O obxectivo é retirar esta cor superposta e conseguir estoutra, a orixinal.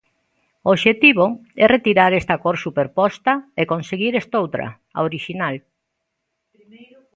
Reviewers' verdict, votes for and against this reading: rejected, 0, 2